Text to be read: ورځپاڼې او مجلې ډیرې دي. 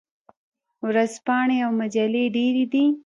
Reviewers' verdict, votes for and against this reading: rejected, 1, 2